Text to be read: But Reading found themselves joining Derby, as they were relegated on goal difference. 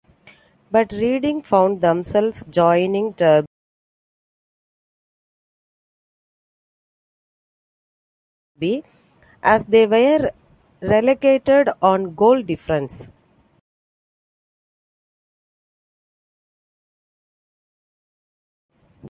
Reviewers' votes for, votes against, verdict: 0, 2, rejected